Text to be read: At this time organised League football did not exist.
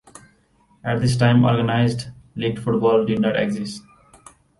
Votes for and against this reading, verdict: 2, 0, accepted